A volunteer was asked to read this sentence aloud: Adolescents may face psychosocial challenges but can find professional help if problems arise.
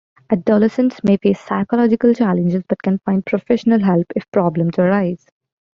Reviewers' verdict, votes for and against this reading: rejected, 1, 2